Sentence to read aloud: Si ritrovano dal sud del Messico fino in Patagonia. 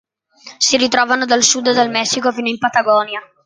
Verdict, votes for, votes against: accepted, 3, 0